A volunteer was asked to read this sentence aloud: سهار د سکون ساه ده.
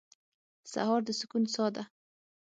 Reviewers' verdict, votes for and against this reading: accepted, 6, 0